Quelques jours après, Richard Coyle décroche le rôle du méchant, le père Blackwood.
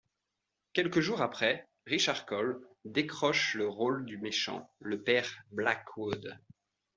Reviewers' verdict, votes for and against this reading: accepted, 2, 0